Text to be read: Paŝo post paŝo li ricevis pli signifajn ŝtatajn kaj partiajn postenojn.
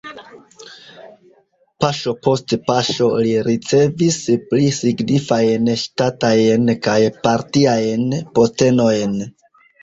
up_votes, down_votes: 1, 2